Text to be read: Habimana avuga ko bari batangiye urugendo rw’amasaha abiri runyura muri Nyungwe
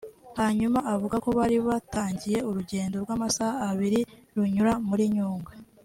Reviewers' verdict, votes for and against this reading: rejected, 1, 2